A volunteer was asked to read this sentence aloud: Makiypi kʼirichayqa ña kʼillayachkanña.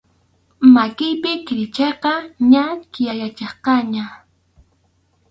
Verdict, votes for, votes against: rejected, 0, 2